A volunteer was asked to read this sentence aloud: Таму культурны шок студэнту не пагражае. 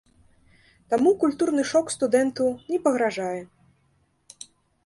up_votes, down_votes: 2, 0